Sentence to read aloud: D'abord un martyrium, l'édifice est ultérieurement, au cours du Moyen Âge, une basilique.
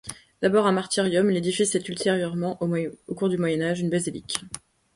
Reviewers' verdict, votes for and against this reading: rejected, 1, 2